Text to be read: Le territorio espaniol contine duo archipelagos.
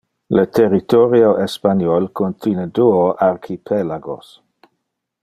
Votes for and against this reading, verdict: 2, 0, accepted